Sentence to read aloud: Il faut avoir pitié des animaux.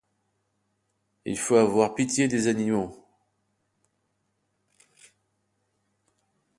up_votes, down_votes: 2, 0